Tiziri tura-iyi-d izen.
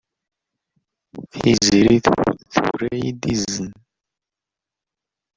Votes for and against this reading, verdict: 0, 2, rejected